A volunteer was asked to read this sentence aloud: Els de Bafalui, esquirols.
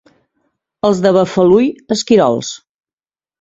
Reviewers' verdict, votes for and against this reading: accepted, 2, 0